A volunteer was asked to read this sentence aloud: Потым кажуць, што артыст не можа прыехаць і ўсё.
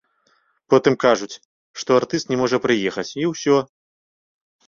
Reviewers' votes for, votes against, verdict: 2, 0, accepted